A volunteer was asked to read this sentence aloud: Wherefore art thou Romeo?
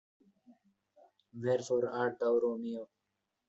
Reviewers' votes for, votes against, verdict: 2, 1, accepted